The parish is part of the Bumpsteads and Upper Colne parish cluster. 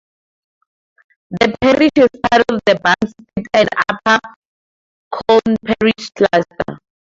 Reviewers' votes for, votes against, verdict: 2, 2, rejected